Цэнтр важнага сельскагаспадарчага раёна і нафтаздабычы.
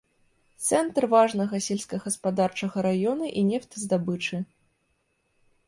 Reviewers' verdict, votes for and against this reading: rejected, 0, 2